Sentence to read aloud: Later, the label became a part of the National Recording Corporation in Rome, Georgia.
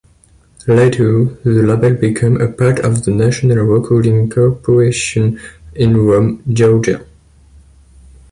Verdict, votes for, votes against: accepted, 2, 1